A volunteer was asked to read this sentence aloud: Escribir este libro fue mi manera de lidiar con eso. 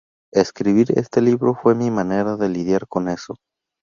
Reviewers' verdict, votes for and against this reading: accepted, 2, 0